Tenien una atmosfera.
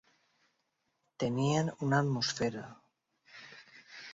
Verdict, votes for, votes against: accepted, 2, 0